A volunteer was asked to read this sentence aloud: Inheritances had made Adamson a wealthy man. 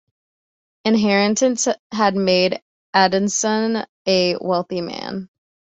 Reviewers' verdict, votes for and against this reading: accepted, 2, 0